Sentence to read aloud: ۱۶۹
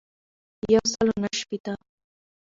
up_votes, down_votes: 0, 2